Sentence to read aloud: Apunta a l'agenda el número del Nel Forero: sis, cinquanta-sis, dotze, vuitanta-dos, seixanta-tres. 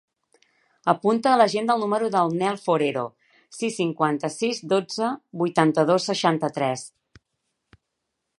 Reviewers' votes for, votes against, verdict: 3, 0, accepted